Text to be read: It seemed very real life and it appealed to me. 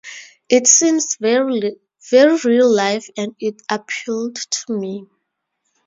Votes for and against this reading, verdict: 0, 2, rejected